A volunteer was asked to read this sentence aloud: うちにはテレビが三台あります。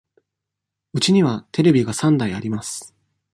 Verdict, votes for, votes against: accepted, 2, 0